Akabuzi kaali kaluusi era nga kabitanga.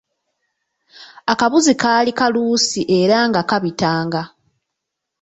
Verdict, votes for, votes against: rejected, 1, 2